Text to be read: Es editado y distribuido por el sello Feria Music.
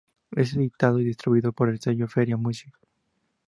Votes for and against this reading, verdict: 2, 0, accepted